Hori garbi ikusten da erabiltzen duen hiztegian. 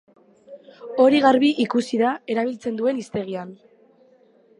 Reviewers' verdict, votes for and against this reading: rejected, 0, 2